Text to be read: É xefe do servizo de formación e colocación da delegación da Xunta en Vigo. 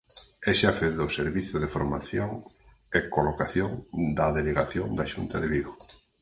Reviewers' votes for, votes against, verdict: 0, 4, rejected